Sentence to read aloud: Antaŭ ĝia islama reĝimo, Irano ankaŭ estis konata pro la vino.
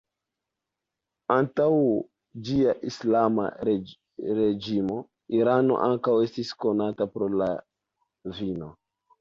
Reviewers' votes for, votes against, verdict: 0, 2, rejected